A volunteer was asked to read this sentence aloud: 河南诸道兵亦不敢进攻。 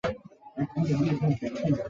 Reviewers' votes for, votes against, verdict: 0, 2, rejected